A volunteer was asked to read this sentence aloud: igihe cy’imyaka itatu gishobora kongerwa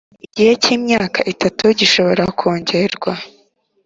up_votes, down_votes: 2, 0